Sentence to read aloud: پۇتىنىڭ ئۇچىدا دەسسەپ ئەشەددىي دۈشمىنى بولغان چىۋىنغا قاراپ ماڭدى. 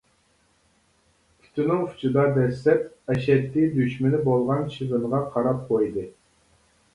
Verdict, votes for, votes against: rejected, 0, 2